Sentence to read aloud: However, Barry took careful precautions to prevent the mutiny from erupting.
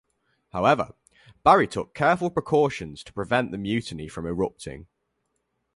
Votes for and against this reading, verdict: 4, 0, accepted